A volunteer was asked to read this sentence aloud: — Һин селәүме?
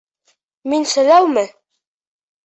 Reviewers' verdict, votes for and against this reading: rejected, 1, 2